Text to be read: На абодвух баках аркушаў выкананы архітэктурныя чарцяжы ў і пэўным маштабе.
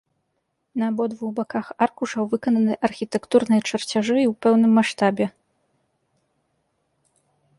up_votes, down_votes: 2, 0